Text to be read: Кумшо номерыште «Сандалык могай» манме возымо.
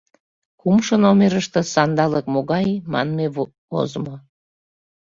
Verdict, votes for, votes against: rejected, 0, 2